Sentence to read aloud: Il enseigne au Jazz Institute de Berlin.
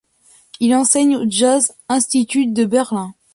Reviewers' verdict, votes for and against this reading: accepted, 2, 0